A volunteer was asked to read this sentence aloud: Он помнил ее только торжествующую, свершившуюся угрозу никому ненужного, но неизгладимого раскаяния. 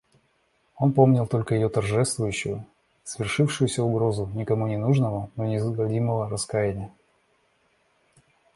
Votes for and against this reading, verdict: 0, 2, rejected